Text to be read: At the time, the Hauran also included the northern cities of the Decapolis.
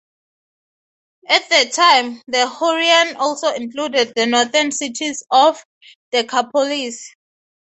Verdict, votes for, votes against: rejected, 0, 3